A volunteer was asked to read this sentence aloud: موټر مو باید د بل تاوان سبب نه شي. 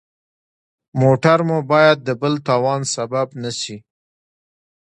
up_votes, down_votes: 2, 1